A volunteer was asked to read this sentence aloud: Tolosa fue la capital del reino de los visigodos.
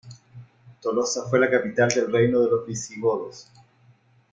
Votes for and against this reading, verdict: 2, 0, accepted